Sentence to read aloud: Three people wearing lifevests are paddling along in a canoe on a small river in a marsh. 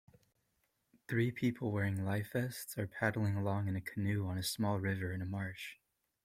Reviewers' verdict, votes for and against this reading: accepted, 2, 0